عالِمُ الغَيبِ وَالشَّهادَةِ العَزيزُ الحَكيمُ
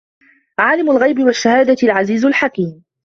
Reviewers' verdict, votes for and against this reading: accepted, 2, 0